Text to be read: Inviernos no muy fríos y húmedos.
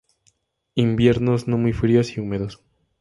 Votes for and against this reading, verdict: 2, 0, accepted